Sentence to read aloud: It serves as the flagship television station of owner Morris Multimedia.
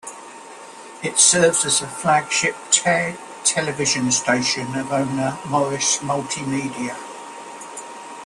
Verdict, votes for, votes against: rejected, 1, 2